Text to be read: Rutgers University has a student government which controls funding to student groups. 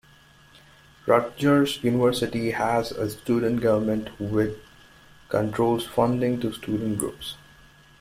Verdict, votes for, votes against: accepted, 2, 1